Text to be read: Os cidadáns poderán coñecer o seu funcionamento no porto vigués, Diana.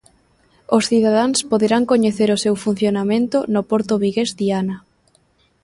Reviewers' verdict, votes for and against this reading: accepted, 3, 0